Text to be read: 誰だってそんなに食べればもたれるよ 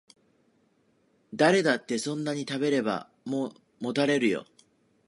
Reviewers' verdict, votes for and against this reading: rejected, 1, 2